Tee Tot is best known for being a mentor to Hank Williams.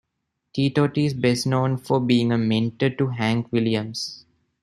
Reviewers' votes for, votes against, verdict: 2, 0, accepted